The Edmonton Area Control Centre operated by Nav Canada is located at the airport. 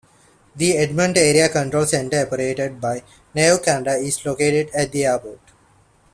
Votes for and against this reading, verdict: 0, 2, rejected